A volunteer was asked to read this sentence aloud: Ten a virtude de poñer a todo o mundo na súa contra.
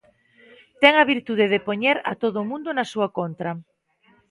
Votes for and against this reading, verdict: 2, 0, accepted